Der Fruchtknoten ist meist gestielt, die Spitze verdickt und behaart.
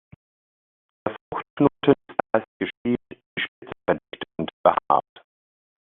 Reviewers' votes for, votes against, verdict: 0, 2, rejected